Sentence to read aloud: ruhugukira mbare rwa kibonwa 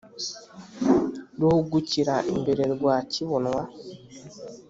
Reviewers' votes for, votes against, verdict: 1, 2, rejected